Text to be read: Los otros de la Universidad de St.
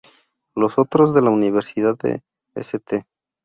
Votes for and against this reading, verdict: 0, 2, rejected